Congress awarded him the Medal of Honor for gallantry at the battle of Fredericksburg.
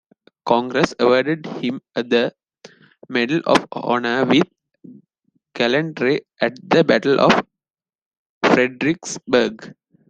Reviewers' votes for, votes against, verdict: 0, 2, rejected